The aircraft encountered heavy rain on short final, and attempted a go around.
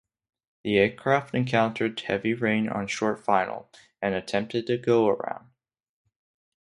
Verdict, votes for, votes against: rejected, 0, 2